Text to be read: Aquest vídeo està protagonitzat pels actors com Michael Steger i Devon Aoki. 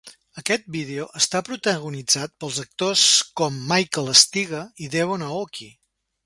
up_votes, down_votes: 3, 0